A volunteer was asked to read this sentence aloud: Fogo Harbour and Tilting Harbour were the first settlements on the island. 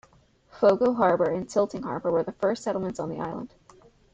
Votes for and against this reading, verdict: 2, 1, accepted